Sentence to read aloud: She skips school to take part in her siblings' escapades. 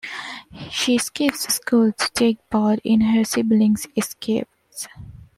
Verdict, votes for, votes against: rejected, 1, 2